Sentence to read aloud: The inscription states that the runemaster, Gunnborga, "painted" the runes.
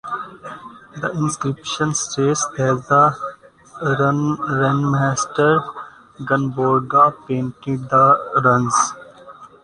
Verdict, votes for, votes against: rejected, 0, 2